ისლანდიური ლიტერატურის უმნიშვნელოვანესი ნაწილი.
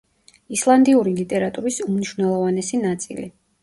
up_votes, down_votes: 2, 0